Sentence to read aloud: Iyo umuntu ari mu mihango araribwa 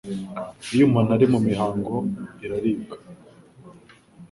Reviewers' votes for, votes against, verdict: 0, 2, rejected